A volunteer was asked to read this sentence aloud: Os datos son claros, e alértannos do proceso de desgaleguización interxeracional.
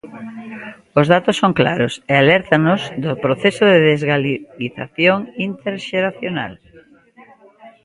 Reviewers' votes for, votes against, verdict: 1, 2, rejected